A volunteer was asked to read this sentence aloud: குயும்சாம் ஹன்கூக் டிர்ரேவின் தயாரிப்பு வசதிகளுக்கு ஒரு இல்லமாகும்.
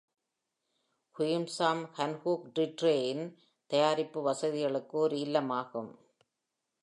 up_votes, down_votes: 2, 0